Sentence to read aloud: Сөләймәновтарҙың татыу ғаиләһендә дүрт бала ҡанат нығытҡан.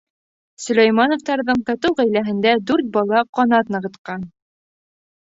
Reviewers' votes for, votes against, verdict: 2, 0, accepted